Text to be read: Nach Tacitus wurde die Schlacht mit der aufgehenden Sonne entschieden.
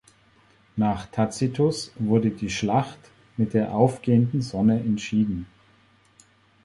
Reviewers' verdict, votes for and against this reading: accepted, 5, 0